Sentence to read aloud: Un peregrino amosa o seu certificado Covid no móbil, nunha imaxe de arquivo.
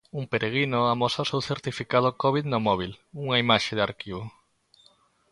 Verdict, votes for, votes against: accepted, 2, 0